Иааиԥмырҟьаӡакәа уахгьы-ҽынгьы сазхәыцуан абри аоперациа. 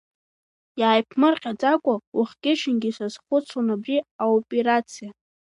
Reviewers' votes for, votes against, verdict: 2, 0, accepted